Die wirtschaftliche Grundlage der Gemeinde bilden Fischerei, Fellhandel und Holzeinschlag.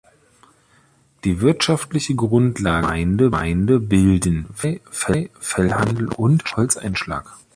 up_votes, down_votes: 0, 2